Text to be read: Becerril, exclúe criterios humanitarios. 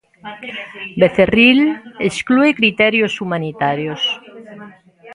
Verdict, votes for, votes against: rejected, 1, 2